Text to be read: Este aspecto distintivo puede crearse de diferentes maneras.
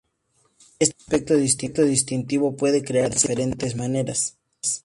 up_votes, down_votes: 0, 4